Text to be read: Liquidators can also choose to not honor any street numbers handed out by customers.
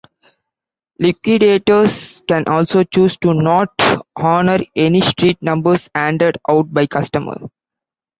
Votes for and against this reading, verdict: 0, 2, rejected